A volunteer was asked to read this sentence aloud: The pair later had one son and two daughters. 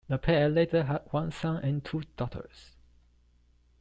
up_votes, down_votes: 2, 1